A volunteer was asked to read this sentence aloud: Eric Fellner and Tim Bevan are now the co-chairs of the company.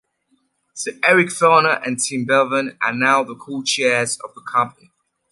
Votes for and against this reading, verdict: 2, 0, accepted